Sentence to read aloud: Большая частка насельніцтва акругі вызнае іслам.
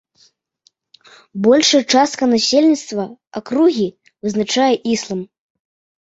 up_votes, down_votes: 0, 2